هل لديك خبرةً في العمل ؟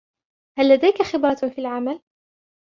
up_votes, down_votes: 2, 0